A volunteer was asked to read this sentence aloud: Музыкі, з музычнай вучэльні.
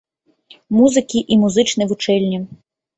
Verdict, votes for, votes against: rejected, 1, 2